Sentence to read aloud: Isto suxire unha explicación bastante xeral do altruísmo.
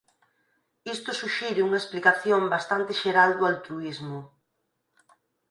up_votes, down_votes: 4, 6